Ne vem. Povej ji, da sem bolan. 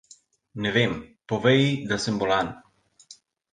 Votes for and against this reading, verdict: 2, 0, accepted